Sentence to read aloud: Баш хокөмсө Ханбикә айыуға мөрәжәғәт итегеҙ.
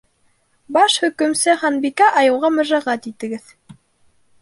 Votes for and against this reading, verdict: 1, 2, rejected